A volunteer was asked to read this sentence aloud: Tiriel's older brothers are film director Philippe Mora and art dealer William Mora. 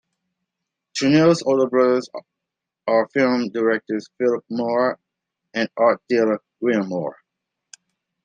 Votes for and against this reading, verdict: 2, 1, accepted